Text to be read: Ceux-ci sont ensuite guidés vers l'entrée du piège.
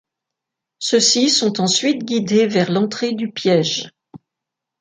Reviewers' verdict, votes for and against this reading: accepted, 2, 0